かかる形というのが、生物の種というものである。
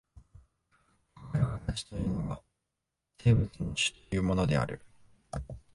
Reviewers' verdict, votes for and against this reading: rejected, 0, 2